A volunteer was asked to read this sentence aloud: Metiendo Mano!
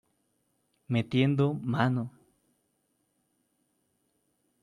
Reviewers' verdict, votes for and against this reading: accepted, 2, 0